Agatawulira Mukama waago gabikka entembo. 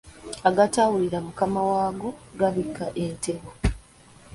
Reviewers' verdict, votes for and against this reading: accepted, 2, 0